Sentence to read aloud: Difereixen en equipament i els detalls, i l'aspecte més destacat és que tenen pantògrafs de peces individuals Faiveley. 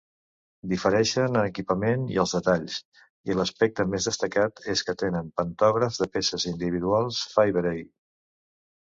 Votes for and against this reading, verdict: 0, 2, rejected